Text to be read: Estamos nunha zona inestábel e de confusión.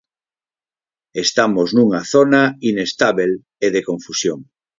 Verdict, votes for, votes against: accepted, 4, 0